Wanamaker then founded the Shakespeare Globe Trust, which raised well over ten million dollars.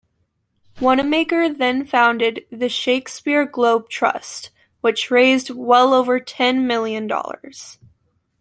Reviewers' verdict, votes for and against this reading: accepted, 2, 0